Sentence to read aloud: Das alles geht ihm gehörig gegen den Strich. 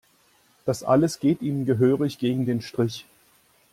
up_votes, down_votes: 2, 0